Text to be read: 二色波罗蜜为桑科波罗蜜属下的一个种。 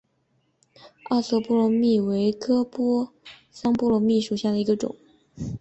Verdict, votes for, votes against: accepted, 3, 0